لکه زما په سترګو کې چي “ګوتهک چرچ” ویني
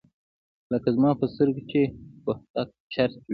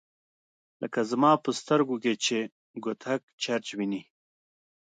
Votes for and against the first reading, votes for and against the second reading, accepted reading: 1, 2, 2, 0, second